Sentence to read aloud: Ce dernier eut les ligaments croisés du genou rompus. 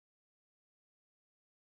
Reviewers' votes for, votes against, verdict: 0, 2, rejected